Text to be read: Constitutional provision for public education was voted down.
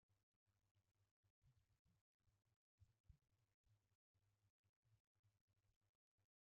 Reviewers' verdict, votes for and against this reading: rejected, 0, 2